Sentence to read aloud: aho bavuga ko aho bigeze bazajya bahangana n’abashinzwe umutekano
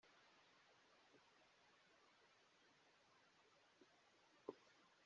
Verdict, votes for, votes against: rejected, 0, 2